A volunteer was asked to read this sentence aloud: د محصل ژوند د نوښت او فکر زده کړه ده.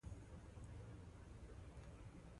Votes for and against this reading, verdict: 2, 0, accepted